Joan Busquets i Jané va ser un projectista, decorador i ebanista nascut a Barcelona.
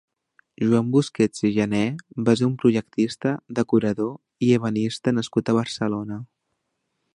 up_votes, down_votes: 2, 1